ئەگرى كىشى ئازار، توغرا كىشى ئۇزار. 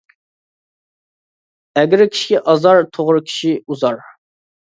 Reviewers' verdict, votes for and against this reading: accepted, 2, 0